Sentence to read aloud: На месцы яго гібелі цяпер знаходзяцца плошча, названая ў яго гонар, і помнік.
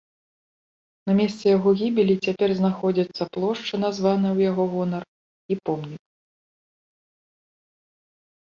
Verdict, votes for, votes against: accepted, 2, 0